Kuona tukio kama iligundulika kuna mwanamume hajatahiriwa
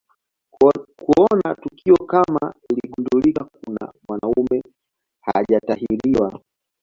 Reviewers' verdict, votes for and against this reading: rejected, 1, 2